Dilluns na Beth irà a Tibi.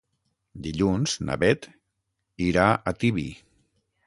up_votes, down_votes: 6, 0